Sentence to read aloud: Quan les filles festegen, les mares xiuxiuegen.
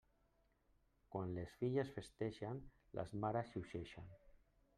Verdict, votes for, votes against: rejected, 1, 2